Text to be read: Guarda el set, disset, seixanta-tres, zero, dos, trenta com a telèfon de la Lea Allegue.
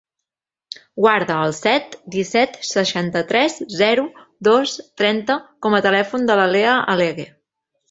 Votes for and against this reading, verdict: 2, 0, accepted